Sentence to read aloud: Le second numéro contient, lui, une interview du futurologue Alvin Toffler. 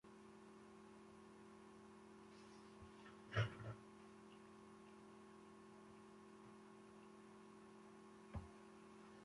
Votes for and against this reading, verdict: 0, 2, rejected